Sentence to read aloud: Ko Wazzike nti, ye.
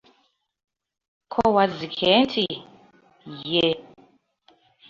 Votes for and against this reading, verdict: 2, 0, accepted